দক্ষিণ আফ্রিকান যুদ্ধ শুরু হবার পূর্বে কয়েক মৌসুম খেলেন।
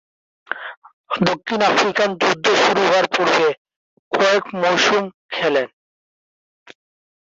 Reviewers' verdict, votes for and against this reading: rejected, 1, 2